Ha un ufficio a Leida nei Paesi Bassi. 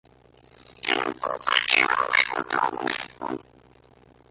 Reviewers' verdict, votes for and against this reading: rejected, 0, 2